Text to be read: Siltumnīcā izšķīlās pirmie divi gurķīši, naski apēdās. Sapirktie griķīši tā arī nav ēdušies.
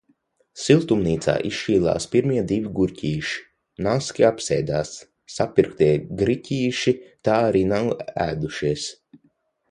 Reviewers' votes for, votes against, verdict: 0, 6, rejected